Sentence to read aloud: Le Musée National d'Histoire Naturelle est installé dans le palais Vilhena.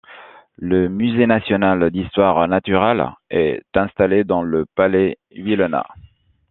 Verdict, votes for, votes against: accepted, 2, 1